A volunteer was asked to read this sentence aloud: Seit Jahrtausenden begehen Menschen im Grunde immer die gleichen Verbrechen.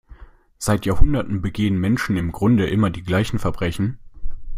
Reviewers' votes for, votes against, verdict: 0, 2, rejected